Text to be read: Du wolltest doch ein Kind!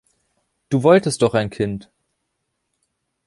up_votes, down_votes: 2, 0